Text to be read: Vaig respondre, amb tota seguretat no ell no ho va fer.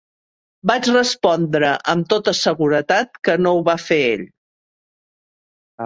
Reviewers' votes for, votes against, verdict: 0, 2, rejected